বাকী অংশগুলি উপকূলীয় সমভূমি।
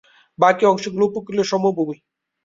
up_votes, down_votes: 0, 2